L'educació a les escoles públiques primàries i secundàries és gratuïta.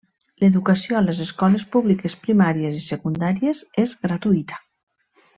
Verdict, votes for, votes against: accepted, 3, 0